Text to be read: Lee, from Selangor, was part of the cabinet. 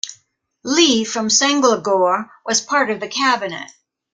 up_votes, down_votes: 1, 2